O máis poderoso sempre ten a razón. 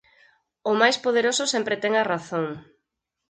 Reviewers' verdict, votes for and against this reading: accepted, 4, 0